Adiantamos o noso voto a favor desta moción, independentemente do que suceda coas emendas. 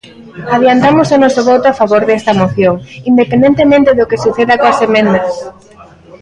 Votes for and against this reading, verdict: 1, 2, rejected